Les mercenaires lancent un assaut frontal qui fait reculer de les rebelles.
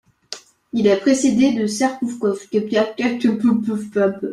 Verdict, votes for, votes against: rejected, 0, 2